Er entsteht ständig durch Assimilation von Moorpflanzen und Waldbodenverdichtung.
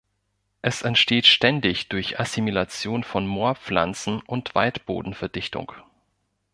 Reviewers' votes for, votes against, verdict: 0, 2, rejected